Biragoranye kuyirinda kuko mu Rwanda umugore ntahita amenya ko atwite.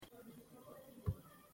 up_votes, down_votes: 0, 2